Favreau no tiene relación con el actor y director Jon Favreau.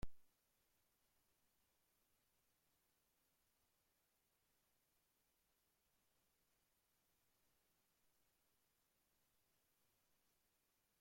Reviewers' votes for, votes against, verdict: 0, 2, rejected